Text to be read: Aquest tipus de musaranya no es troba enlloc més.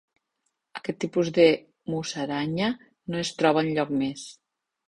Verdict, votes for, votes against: accepted, 3, 0